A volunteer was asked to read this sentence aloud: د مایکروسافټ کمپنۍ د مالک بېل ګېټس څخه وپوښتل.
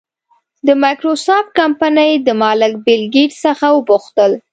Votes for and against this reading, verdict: 2, 0, accepted